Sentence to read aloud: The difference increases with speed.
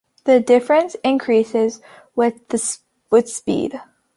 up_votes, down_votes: 0, 2